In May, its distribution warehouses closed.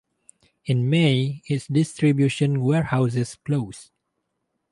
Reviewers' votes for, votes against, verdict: 2, 0, accepted